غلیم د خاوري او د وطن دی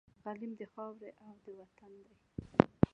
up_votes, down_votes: 0, 2